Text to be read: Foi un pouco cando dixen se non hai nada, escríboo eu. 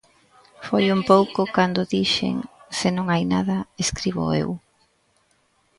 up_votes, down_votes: 3, 0